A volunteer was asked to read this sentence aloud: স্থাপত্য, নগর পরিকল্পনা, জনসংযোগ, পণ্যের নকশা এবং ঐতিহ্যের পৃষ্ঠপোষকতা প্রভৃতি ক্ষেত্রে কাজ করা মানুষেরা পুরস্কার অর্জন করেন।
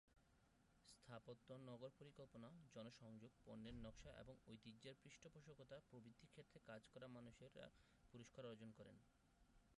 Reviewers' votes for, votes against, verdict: 2, 5, rejected